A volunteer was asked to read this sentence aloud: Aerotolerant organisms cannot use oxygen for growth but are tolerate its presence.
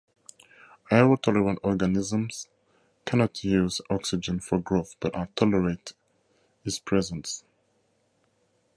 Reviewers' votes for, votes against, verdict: 2, 0, accepted